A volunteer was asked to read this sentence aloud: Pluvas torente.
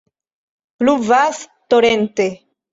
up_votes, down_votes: 2, 0